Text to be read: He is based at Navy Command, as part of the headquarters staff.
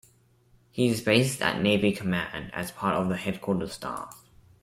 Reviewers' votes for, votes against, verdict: 2, 0, accepted